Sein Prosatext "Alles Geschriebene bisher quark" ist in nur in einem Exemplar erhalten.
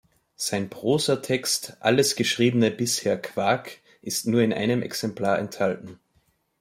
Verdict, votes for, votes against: rejected, 0, 2